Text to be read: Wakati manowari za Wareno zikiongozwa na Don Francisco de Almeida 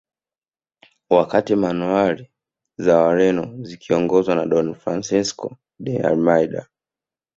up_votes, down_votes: 2, 0